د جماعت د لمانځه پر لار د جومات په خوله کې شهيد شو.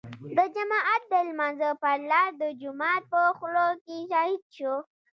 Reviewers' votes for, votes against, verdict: 2, 0, accepted